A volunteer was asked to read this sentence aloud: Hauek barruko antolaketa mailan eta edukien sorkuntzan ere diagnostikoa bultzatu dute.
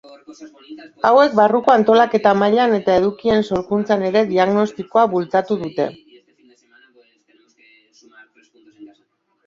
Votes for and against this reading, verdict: 2, 3, rejected